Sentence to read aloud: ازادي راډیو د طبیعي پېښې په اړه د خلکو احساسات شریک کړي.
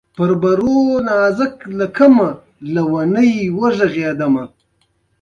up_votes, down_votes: 2, 1